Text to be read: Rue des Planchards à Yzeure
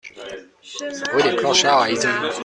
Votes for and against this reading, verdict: 0, 2, rejected